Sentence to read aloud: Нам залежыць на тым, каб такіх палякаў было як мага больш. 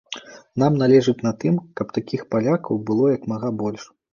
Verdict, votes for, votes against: rejected, 2, 3